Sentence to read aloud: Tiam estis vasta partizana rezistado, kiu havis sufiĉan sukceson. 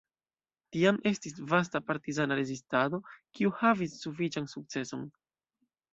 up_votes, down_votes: 1, 2